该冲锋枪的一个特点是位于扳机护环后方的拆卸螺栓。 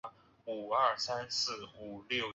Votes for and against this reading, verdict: 0, 5, rejected